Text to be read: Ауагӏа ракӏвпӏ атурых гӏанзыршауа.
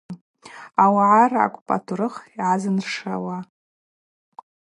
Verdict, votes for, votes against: accepted, 2, 0